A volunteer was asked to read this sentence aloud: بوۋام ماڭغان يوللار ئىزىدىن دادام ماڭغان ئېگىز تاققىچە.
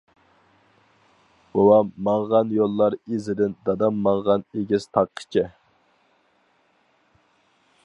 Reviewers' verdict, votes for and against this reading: accepted, 4, 0